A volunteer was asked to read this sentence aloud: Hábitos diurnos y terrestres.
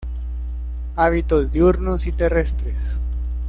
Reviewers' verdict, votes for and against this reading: accepted, 2, 0